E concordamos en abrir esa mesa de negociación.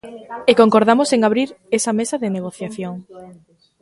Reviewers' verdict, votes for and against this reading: rejected, 1, 2